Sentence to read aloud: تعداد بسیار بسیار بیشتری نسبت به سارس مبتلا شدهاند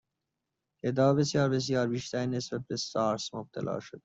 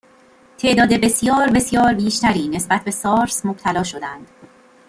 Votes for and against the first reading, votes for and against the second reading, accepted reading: 0, 2, 2, 0, second